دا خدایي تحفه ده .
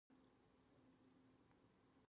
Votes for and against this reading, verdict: 0, 2, rejected